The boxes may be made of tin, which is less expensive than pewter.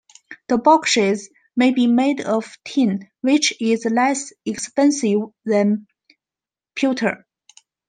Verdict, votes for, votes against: accepted, 2, 1